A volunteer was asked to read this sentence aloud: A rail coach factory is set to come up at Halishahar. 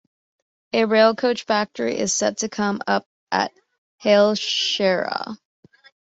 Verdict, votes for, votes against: rejected, 0, 2